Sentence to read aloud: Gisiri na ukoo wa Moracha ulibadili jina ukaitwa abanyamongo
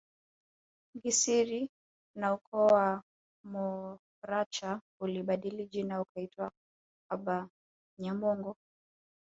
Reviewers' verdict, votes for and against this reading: rejected, 1, 2